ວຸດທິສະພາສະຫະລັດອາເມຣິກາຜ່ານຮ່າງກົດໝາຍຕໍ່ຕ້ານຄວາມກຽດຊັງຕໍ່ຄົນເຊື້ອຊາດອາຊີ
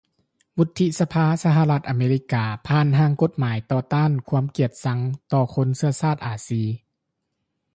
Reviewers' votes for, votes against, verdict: 2, 1, accepted